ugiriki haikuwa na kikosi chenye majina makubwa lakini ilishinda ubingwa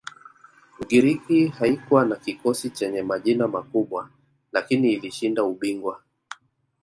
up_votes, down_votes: 1, 2